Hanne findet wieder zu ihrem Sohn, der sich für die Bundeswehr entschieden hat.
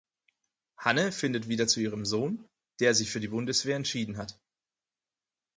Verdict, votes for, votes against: accepted, 4, 0